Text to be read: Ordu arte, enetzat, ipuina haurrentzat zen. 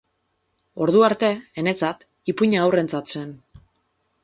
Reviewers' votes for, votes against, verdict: 0, 2, rejected